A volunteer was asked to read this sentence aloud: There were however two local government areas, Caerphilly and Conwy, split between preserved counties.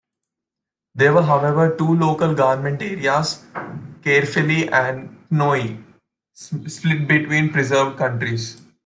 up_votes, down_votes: 1, 2